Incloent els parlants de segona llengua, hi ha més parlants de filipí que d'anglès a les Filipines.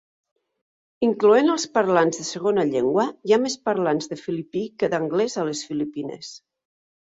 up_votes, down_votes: 2, 0